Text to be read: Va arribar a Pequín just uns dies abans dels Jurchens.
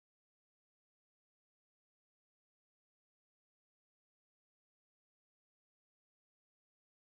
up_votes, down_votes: 1, 2